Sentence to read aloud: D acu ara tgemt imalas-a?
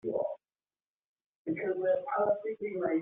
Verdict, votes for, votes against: rejected, 0, 2